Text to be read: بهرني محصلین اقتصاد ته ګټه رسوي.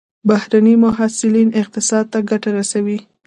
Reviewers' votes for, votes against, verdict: 0, 2, rejected